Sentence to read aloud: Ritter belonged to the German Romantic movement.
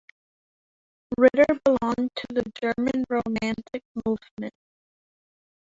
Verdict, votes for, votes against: rejected, 1, 2